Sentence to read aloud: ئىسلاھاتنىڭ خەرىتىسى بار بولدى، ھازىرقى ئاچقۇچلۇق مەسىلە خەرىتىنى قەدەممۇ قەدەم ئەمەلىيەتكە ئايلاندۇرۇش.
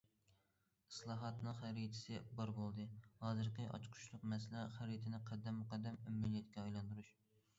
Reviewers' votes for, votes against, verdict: 2, 1, accepted